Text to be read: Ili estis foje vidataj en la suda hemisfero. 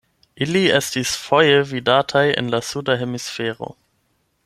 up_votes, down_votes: 8, 0